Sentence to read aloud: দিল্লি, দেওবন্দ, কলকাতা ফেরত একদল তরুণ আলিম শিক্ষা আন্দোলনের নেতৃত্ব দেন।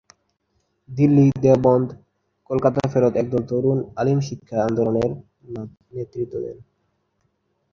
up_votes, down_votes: 1, 2